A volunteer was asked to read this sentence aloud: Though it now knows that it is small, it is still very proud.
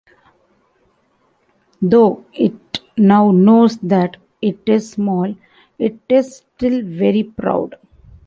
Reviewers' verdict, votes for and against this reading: accepted, 2, 0